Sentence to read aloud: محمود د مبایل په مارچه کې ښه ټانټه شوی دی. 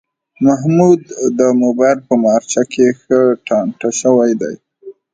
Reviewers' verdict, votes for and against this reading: accepted, 2, 0